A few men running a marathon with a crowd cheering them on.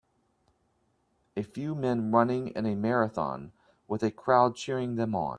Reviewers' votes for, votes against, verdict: 0, 2, rejected